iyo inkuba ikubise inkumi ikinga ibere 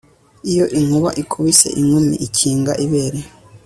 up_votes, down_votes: 2, 0